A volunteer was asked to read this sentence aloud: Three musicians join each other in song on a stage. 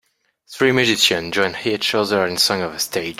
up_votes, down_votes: 2, 0